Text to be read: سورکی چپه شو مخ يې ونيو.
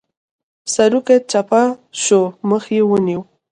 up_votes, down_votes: 2, 0